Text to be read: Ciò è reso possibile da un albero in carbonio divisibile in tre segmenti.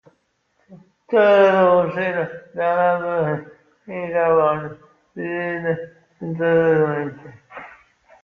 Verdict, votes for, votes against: rejected, 0, 2